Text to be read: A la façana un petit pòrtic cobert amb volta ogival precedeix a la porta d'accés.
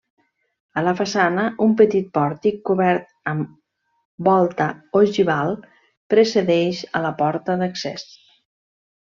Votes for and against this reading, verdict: 2, 0, accepted